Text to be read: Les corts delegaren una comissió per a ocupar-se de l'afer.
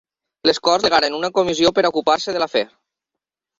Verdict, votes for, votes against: rejected, 1, 2